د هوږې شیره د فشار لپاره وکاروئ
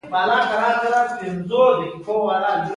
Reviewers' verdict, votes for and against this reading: accepted, 2, 1